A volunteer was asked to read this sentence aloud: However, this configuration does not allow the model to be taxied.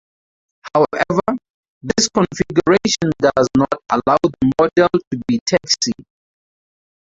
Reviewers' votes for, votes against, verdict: 0, 2, rejected